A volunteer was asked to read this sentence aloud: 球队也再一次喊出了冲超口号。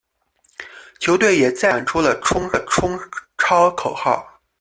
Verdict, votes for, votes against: rejected, 0, 2